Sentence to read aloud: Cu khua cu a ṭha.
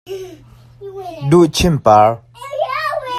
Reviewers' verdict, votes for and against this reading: rejected, 0, 2